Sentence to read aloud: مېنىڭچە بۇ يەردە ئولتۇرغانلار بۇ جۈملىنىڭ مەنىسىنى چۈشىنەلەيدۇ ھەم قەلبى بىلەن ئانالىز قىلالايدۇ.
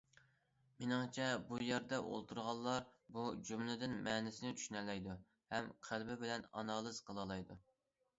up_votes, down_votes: 0, 2